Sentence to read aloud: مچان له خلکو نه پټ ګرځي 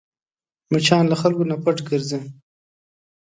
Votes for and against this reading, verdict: 2, 0, accepted